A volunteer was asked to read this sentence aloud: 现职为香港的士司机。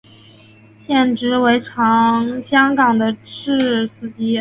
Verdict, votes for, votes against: rejected, 0, 2